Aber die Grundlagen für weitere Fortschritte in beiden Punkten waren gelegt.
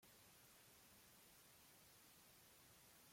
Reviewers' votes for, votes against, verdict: 0, 2, rejected